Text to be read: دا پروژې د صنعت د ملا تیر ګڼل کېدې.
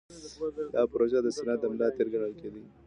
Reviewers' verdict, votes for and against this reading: accepted, 2, 0